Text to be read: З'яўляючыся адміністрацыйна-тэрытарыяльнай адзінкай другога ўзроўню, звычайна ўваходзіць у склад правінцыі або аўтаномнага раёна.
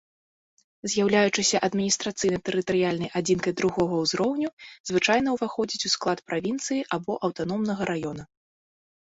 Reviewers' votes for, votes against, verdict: 2, 0, accepted